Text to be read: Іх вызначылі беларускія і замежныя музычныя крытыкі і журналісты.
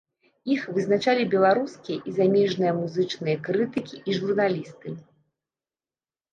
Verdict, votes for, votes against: rejected, 0, 2